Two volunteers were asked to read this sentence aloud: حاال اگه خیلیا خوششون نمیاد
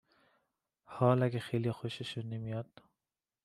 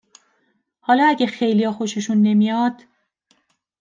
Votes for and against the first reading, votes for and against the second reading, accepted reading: 2, 0, 1, 2, first